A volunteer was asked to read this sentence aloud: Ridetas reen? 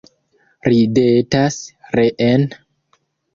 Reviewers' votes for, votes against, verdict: 1, 2, rejected